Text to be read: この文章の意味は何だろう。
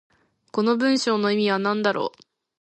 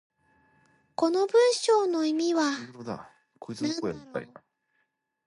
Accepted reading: first